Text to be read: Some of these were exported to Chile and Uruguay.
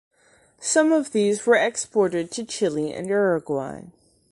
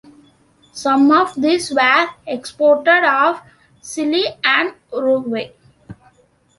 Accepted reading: first